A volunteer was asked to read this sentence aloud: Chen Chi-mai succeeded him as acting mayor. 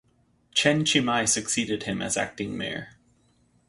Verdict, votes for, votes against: accepted, 4, 0